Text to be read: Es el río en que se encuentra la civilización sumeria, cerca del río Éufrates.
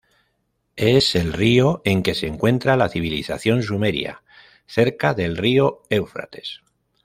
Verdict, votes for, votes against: accepted, 2, 0